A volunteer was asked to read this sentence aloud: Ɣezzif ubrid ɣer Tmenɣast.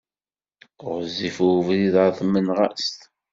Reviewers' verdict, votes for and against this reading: accepted, 2, 0